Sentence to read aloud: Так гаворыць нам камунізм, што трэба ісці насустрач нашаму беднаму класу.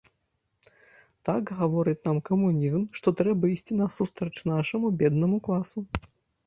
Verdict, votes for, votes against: accepted, 2, 1